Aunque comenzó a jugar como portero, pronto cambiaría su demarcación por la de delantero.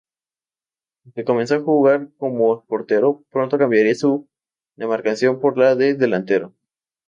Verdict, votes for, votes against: rejected, 2, 2